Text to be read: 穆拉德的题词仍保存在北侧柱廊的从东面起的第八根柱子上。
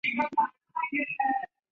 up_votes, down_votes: 0, 2